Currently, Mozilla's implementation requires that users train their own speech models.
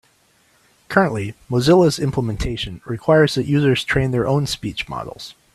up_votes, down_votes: 3, 0